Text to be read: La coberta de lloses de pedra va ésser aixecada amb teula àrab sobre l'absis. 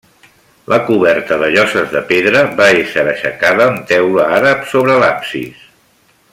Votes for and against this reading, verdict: 2, 1, accepted